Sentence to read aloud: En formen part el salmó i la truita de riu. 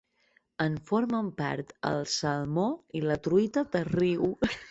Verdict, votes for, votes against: rejected, 1, 2